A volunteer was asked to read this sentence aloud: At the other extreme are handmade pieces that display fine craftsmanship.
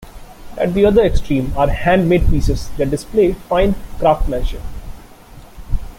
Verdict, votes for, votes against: accepted, 2, 1